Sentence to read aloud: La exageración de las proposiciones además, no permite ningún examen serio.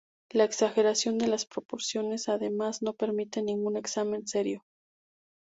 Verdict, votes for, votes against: rejected, 0, 2